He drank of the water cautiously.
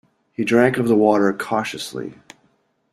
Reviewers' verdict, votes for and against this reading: accepted, 2, 0